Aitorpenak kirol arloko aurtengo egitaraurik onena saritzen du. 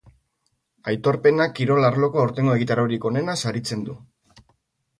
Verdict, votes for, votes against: accepted, 2, 0